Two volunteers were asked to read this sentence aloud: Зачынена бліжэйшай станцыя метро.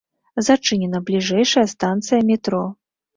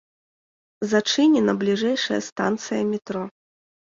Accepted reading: second